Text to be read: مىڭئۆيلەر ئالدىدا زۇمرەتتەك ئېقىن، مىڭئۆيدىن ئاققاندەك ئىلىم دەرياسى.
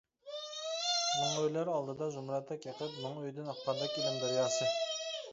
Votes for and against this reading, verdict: 0, 2, rejected